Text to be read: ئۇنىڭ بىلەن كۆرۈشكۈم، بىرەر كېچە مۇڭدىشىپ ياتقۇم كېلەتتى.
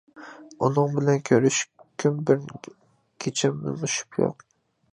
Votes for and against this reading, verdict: 0, 2, rejected